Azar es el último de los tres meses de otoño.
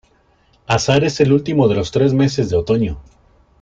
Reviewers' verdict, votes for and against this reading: accepted, 2, 0